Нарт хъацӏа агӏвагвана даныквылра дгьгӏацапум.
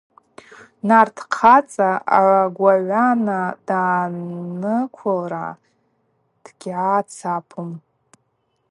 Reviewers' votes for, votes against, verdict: 2, 4, rejected